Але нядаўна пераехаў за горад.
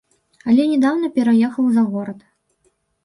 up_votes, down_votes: 0, 3